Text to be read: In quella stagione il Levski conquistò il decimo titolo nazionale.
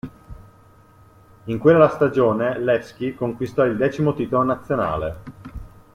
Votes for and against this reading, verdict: 1, 2, rejected